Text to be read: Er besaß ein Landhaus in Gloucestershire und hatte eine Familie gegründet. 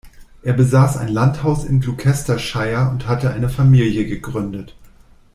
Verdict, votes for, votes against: accepted, 2, 0